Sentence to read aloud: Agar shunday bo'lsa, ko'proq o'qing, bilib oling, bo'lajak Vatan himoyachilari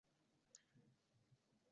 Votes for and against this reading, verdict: 0, 2, rejected